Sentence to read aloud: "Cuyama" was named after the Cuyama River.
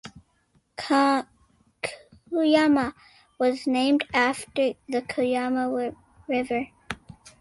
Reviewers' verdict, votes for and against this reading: rejected, 0, 2